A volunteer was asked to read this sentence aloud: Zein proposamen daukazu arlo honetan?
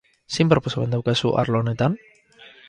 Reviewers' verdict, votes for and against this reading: rejected, 2, 4